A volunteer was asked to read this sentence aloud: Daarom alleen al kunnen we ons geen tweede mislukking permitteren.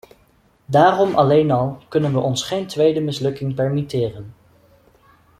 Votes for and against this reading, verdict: 2, 0, accepted